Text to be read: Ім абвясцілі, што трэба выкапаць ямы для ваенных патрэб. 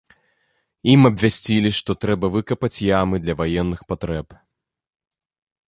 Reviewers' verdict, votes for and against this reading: accepted, 2, 0